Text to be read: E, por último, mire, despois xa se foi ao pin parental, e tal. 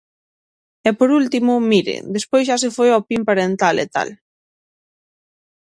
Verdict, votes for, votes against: accepted, 6, 0